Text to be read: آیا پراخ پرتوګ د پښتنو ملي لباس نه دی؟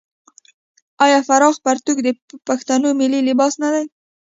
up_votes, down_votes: 2, 0